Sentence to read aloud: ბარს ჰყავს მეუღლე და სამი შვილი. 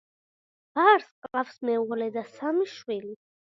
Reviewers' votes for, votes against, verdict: 2, 0, accepted